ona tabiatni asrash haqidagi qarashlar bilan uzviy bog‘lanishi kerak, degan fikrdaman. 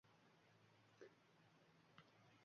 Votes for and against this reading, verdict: 0, 2, rejected